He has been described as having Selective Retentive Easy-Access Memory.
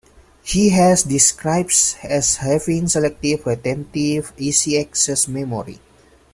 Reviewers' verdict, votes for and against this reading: accepted, 2, 0